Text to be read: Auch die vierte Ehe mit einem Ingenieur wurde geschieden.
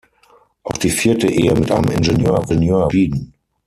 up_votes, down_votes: 0, 6